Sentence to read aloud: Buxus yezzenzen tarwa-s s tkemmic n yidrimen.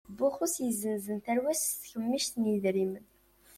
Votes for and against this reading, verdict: 2, 0, accepted